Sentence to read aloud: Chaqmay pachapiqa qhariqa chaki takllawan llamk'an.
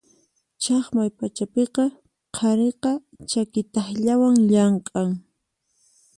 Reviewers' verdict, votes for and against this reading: accepted, 4, 0